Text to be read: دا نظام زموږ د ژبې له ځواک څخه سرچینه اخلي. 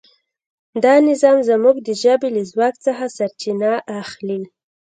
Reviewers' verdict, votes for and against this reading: accepted, 2, 0